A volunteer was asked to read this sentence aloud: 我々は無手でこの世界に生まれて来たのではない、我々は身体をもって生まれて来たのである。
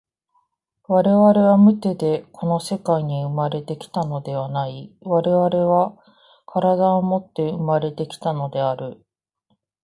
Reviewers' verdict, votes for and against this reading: rejected, 1, 2